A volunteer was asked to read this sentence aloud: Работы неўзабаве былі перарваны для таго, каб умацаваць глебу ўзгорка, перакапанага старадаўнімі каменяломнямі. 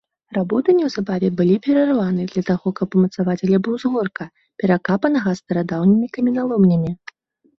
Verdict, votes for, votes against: rejected, 0, 2